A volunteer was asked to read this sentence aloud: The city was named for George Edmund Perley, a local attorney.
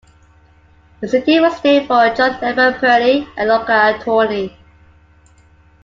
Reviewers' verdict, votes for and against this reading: rejected, 0, 2